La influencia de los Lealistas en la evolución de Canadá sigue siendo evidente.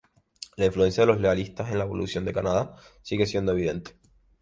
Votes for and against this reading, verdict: 2, 0, accepted